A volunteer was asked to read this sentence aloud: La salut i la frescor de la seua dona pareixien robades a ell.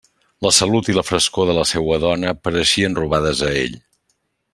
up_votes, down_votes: 3, 0